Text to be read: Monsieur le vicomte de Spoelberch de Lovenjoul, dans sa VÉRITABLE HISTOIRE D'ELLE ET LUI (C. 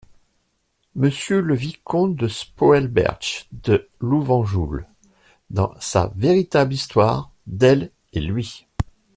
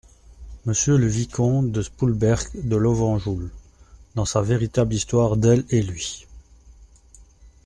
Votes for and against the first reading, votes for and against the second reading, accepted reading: 2, 1, 1, 2, first